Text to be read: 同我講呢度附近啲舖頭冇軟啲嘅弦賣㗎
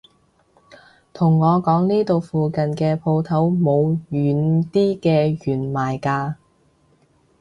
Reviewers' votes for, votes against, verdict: 0, 2, rejected